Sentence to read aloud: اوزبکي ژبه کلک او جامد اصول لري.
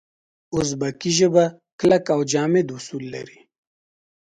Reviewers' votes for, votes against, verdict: 2, 0, accepted